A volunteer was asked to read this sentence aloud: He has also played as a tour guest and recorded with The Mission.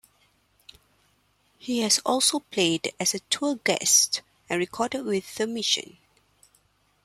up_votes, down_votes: 2, 0